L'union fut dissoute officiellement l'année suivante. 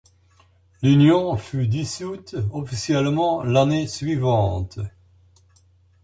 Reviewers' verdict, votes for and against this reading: accepted, 2, 1